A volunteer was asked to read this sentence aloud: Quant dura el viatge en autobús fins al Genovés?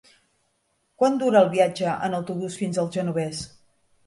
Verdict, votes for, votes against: accepted, 3, 0